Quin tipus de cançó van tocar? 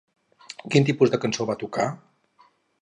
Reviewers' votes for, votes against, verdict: 0, 2, rejected